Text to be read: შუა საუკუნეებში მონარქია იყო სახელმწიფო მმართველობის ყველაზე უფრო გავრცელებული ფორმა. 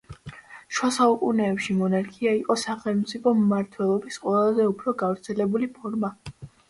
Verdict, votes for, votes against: accepted, 2, 0